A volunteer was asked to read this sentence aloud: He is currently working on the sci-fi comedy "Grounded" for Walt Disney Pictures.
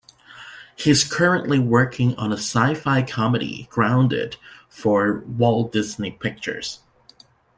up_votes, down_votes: 0, 2